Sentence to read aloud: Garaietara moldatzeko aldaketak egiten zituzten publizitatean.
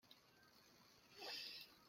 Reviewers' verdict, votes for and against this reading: rejected, 0, 2